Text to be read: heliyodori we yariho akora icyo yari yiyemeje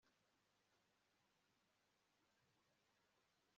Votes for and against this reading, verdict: 1, 2, rejected